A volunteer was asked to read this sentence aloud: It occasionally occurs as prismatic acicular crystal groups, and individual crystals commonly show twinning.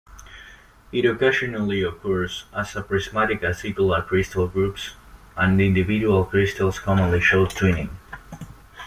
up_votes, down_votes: 2, 1